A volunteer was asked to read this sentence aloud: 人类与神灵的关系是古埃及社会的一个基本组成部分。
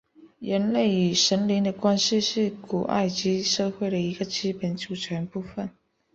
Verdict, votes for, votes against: accepted, 3, 0